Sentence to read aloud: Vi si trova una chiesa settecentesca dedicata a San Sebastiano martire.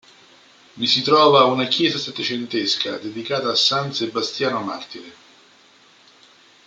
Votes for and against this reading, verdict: 2, 0, accepted